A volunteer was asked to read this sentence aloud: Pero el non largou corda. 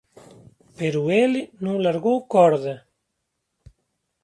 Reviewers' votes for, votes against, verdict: 2, 1, accepted